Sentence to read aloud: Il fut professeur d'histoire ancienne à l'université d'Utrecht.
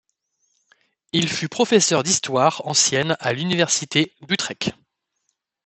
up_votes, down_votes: 0, 2